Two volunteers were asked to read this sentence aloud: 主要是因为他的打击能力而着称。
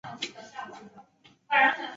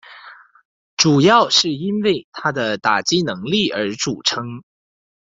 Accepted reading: second